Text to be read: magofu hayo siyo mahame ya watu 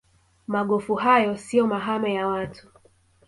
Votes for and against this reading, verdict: 2, 0, accepted